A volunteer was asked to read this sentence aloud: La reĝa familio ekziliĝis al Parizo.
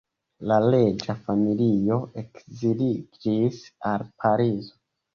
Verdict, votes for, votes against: rejected, 1, 2